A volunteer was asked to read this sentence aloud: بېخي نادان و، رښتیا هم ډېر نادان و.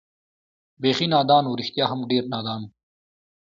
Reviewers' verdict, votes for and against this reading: accepted, 2, 0